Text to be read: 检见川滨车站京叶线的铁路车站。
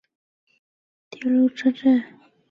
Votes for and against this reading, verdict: 1, 2, rejected